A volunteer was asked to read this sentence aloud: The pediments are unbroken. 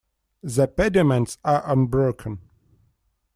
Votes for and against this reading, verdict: 2, 0, accepted